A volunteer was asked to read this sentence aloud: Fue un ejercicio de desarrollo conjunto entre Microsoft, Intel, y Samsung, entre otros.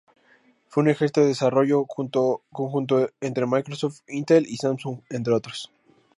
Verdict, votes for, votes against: rejected, 2, 4